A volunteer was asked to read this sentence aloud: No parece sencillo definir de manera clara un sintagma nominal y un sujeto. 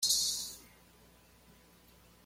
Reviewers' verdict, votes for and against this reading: rejected, 1, 2